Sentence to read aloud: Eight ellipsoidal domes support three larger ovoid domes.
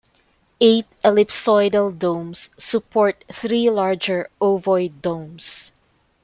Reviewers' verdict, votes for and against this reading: accepted, 2, 0